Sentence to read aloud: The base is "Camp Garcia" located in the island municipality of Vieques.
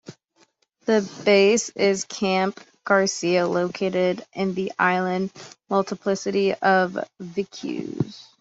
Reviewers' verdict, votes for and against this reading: rejected, 0, 2